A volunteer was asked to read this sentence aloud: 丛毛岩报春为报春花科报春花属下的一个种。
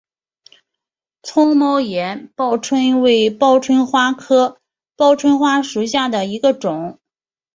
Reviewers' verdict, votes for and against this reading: accepted, 4, 2